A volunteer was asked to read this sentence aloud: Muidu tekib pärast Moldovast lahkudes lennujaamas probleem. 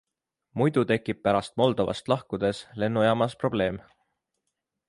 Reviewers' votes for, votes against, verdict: 2, 0, accepted